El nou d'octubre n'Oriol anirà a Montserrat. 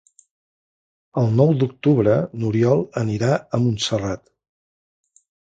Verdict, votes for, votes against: accepted, 4, 0